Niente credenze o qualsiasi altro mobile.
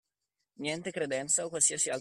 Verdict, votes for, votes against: rejected, 0, 2